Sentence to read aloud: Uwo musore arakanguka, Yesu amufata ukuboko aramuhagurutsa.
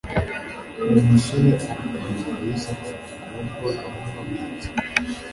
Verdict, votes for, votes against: accepted, 2, 1